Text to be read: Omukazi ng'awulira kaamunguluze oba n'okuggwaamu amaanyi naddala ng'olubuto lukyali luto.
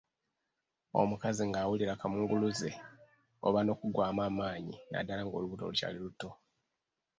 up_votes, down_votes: 1, 2